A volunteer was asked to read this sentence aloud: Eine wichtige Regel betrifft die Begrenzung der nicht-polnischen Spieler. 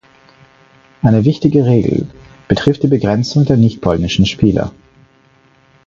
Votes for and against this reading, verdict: 4, 0, accepted